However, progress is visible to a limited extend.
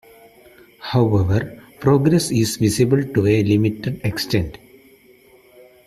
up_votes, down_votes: 2, 0